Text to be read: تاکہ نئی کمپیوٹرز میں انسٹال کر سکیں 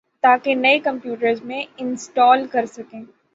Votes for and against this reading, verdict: 3, 0, accepted